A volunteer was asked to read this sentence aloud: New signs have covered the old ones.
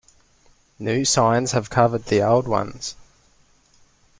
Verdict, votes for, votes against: accepted, 2, 0